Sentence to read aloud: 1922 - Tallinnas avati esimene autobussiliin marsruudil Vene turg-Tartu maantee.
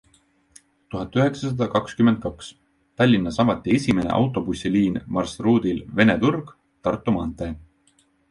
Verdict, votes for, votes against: rejected, 0, 2